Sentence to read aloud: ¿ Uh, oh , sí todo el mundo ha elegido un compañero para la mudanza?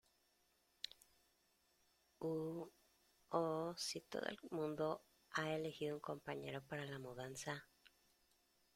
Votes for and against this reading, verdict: 2, 1, accepted